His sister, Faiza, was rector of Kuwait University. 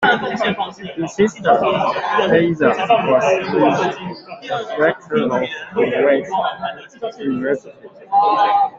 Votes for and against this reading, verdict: 0, 2, rejected